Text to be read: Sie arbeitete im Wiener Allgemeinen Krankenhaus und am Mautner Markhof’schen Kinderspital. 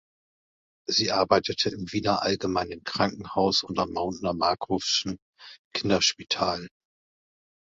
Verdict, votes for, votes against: accepted, 2, 0